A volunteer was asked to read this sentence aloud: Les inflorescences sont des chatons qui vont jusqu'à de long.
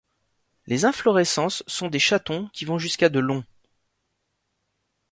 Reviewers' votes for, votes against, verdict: 2, 0, accepted